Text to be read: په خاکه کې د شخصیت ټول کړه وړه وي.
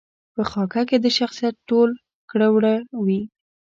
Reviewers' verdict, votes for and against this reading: accepted, 2, 0